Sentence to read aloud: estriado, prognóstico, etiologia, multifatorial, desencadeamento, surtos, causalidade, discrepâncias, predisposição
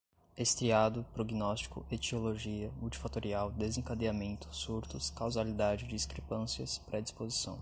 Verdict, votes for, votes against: accepted, 2, 0